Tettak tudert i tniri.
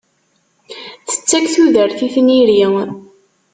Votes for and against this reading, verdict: 2, 0, accepted